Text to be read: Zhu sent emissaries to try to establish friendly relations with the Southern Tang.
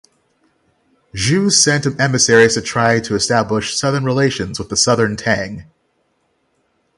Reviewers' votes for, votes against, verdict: 3, 6, rejected